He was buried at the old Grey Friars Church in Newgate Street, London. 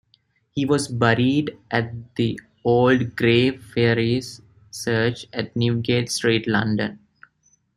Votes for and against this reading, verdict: 0, 2, rejected